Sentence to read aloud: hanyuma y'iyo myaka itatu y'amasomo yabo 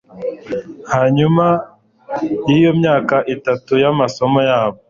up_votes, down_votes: 2, 0